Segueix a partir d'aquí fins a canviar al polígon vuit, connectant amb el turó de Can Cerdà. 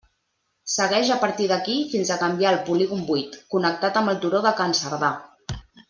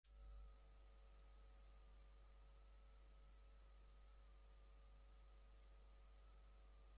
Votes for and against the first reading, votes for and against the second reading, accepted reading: 2, 0, 0, 3, first